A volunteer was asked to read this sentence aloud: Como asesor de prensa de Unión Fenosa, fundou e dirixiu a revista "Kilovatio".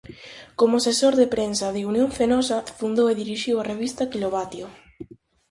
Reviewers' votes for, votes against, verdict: 4, 0, accepted